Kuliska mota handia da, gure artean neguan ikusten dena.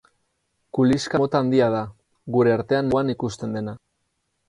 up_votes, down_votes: 2, 2